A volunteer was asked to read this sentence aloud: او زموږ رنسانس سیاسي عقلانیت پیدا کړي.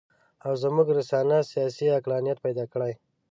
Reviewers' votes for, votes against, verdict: 2, 1, accepted